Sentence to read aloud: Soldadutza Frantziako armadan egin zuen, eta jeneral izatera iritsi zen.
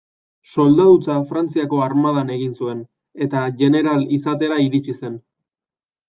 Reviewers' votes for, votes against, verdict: 1, 2, rejected